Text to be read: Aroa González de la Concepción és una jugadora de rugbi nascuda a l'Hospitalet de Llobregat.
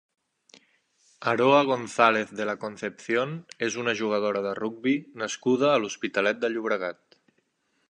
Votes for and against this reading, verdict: 3, 0, accepted